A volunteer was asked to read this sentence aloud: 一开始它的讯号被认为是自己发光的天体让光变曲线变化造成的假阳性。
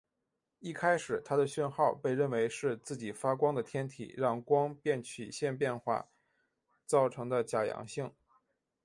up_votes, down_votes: 5, 1